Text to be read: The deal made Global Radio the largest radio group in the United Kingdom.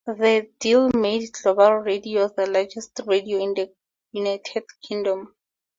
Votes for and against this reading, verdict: 2, 0, accepted